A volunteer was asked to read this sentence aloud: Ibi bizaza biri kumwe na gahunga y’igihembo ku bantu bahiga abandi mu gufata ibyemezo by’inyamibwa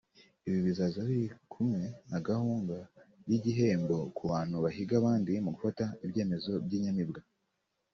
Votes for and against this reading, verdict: 2, 0, accepted